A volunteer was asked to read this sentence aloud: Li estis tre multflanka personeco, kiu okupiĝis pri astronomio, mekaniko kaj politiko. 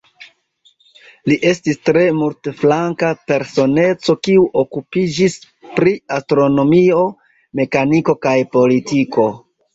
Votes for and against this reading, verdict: 2, 1, accepted